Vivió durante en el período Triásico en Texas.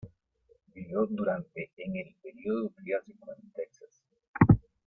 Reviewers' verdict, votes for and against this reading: accepted, 2, 1